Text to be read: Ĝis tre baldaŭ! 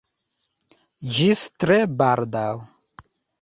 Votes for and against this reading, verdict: 2, 0, accepted